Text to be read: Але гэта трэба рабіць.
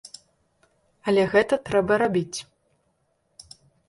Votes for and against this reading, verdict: 2, 0, accepted